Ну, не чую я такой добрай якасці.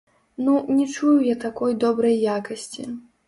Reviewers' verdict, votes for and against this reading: rejected, 1, 2